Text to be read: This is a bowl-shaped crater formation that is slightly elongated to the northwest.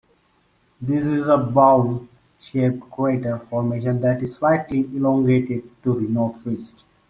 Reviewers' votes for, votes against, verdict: 2, 1, accepted